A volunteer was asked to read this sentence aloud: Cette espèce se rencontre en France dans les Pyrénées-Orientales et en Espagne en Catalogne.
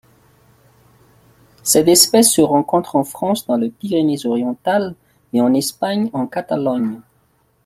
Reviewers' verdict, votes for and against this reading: rejected, 0, 2